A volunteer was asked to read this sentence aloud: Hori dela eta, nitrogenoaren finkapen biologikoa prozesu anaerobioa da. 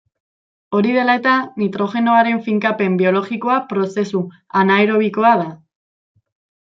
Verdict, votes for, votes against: accepted, 2, 0